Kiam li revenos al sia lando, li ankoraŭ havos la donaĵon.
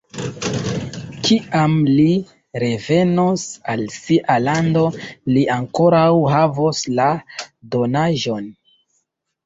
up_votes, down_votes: 1, 2